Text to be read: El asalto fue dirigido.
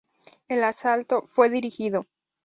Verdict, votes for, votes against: accepted, 2, 0